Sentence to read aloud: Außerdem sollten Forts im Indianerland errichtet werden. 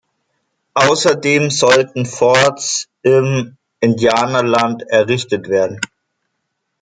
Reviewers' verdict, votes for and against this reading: accepted, 2, 0